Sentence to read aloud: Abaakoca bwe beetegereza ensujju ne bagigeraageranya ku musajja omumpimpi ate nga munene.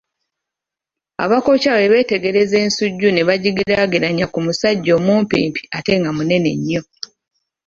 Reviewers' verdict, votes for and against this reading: rejected, 1, 2